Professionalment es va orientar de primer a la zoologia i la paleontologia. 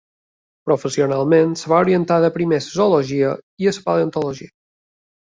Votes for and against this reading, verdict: 0, 2, rejected